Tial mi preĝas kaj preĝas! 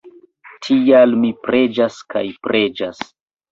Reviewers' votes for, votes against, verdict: 1, 2, rejected